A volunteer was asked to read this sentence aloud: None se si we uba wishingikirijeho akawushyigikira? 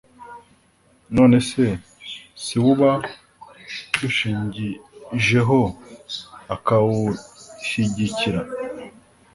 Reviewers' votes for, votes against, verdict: 1, 2, rejected